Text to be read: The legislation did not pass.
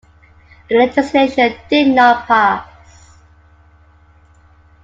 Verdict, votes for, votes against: accepted, 2, 1